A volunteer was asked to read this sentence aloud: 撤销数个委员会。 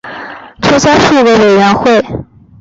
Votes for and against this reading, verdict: 2, 0, accepted